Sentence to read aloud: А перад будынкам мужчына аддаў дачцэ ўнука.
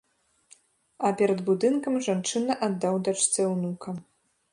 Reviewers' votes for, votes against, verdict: 0, 2, rejected